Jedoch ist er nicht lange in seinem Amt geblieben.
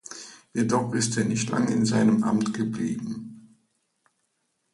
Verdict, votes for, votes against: accepted, 2, 0